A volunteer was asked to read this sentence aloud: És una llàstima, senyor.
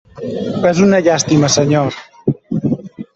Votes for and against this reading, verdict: 1, 2, rejected